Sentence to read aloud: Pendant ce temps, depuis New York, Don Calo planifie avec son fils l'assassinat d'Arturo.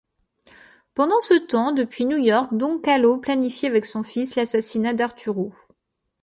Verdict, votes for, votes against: rejected, 1, 2